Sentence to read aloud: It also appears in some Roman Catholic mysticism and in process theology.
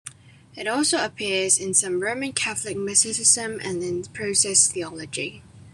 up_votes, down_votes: 2, 1